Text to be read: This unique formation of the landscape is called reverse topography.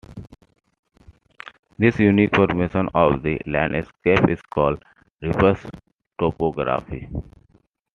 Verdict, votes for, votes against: accepted, 2, 1